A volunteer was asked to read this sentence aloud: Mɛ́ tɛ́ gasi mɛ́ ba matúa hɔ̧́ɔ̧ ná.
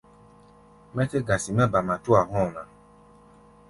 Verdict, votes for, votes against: accepted, 2, 0